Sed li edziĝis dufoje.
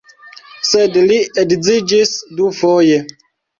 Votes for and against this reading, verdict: 1, 2, rejected